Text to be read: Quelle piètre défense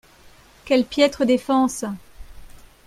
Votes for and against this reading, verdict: 2, 0, accepted